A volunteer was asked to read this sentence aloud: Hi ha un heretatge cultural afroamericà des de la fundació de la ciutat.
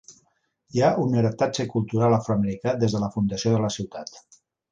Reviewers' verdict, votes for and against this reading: accepted, 2, 0